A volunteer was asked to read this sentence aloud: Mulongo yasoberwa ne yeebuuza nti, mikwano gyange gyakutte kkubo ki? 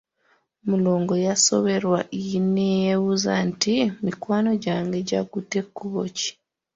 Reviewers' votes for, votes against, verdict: 0, 2, rejected